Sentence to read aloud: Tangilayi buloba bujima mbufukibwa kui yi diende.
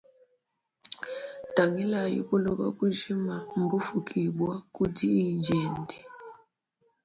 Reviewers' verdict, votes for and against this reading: rejected, 0, 2